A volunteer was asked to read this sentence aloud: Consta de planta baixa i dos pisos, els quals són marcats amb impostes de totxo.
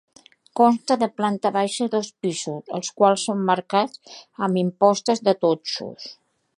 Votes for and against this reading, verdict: 0, 3, rejected